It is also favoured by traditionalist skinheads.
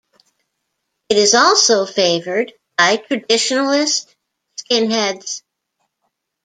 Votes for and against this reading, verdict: 2, 0, accepted